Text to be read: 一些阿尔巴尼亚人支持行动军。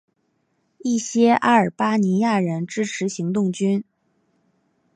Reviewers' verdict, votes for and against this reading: accepted, 3, 0